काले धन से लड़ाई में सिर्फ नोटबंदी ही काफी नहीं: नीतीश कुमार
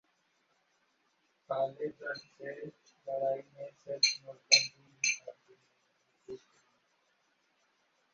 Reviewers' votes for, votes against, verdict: 0, 2, rejected